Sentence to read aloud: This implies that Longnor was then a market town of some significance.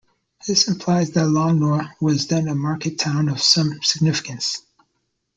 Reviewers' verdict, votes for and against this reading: accepted, 2, 0